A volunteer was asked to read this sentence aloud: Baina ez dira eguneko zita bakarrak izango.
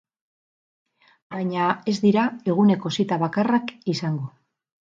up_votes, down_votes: 4, 0